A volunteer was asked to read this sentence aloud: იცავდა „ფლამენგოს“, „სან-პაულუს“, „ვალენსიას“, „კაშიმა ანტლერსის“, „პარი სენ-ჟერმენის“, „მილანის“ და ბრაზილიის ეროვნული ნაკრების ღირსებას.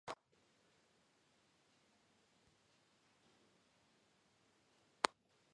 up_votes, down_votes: 1, 2